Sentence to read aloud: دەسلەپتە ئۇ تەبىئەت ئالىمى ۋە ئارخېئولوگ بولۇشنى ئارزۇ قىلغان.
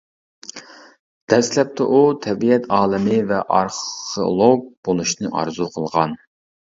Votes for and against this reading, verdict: 0, 2, rejected